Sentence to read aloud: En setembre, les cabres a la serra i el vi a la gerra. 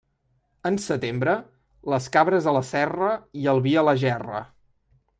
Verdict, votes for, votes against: accepted, 3, 0